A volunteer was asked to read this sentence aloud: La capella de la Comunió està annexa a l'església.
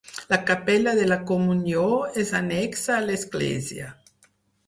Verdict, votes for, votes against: rejected, 2, 4